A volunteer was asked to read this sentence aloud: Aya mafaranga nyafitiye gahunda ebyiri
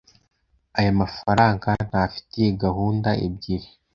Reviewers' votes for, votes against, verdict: 1, 2, rejected